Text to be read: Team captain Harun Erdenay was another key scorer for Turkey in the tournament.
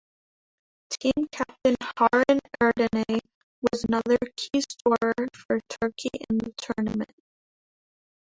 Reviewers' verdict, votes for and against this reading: rejected, 0, 2